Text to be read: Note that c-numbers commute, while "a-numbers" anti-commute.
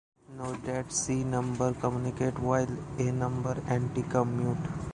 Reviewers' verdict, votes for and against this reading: rejected, 0, 2